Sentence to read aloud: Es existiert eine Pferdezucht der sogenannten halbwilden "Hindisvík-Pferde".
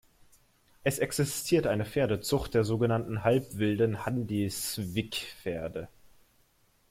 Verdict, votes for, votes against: rejected, 0, 2